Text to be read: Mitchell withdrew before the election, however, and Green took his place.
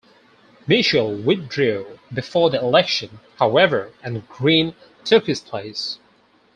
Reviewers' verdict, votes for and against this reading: rejected, 0, 4